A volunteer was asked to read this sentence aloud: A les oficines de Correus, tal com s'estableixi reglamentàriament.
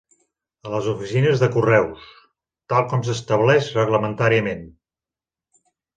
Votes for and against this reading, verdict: 0, 3, rejected